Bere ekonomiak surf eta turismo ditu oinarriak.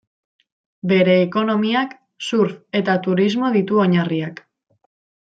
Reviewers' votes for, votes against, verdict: 2, 1, accepted